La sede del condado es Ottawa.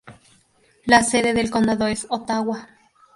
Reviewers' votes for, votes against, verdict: 2, 0, accepted